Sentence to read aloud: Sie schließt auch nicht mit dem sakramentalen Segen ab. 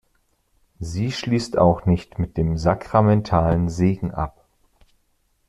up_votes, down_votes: 2, 0